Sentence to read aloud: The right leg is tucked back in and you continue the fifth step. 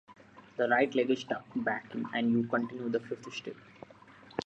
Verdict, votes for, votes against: rejected, 1, 2